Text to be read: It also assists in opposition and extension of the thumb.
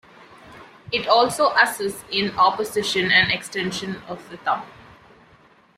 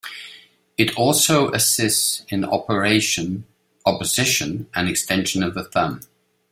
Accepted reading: first